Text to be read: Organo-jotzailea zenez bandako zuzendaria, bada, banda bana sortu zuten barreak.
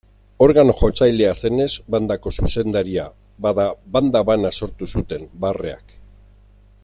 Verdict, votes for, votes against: accepted, 2, 0